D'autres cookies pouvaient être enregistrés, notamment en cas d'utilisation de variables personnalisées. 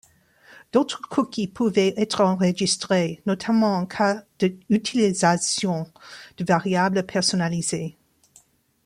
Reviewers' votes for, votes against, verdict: 1, 2, rejected